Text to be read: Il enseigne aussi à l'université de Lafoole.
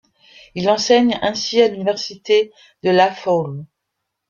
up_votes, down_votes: 0, 2